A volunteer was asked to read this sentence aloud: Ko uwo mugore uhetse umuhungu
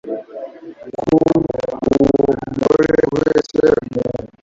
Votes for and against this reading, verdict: 0, 2, rejected